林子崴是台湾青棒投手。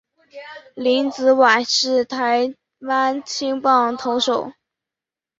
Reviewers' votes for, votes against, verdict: 3, 0, accepted